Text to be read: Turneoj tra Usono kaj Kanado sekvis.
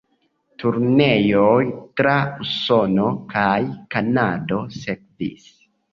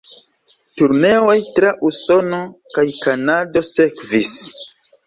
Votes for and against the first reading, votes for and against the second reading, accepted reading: 1, 2, 2, 0, second